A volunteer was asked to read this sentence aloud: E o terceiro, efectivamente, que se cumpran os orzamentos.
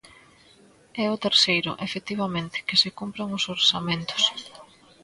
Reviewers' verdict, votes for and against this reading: rejected, 1, 2